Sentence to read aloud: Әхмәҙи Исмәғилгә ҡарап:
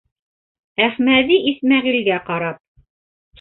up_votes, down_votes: 0, 2